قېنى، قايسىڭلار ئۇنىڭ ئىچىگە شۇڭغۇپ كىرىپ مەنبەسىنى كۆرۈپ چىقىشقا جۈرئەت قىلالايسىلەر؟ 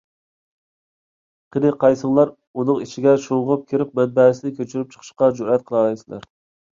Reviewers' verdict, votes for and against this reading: rejected, 1, 2